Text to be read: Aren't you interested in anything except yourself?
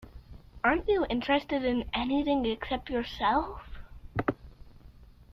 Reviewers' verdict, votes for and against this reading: accepted, 2, 0